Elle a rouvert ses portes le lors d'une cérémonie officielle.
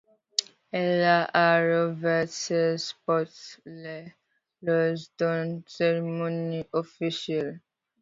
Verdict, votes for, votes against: accepted, 2, 0